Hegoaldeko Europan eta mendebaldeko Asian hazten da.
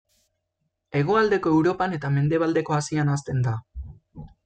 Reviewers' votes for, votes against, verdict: 2, 0, accepted